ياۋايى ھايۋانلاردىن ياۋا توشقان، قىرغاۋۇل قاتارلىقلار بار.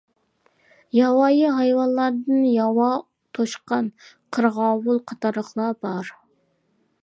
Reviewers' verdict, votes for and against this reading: accepted, 2, 0